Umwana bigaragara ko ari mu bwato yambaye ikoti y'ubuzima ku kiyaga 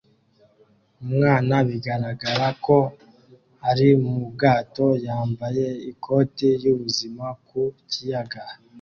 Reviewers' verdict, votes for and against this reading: accepted, 2, 0